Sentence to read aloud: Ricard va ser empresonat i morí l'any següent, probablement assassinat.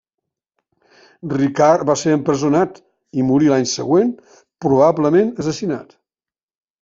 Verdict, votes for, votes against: accepted, 2, 0